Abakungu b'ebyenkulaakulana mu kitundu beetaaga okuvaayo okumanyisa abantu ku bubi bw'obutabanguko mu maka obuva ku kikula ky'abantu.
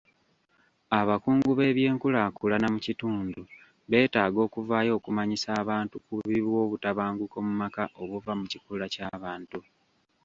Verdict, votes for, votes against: accepted, 2, 0